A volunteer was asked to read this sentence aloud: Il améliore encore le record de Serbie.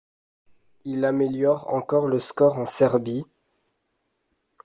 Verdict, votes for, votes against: rejected, 0, 2